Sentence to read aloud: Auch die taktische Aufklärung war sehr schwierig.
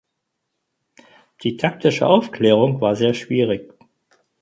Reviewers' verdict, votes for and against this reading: rejected, 0, 4